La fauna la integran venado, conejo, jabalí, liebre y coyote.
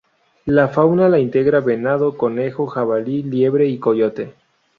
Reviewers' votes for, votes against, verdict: 0, 2, rejected